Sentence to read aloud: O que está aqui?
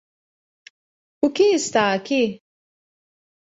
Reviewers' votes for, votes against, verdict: 2, 0, accepted